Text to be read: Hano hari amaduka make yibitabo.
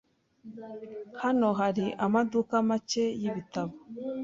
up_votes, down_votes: 2, 0